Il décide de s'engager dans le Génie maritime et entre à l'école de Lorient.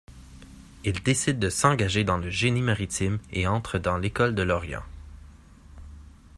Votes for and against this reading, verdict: 2, 1, accepted